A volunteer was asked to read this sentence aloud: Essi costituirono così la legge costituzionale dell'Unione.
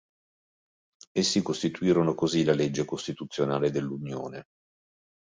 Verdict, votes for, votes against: accepted, 2, 0